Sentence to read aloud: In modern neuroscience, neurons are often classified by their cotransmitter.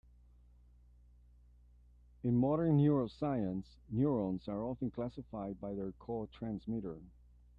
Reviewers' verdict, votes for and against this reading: accepted, 2, 0